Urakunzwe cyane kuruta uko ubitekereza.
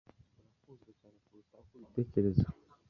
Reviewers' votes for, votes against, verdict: 1, 2, rejected